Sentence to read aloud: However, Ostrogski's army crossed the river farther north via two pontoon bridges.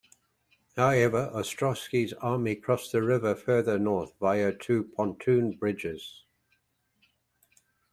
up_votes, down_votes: 1, 2